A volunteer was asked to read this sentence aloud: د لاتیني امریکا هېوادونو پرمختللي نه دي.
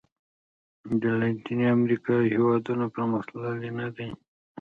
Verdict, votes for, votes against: rejected, 1, 2